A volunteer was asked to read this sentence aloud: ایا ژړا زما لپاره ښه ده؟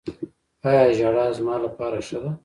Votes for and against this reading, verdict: 0, 2, rejected